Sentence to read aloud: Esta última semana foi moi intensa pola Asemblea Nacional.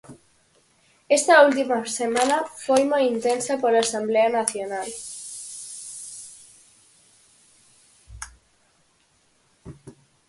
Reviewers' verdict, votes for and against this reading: rejected, 2, 2